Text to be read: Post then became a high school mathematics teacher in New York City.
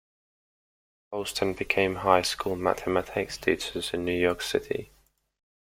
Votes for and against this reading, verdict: 0, 2, rejected